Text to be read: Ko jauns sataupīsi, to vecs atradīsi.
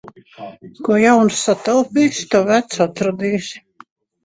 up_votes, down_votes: 0, 2